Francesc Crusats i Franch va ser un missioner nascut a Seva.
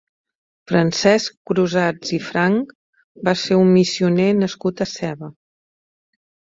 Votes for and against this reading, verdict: 2, 0, accepted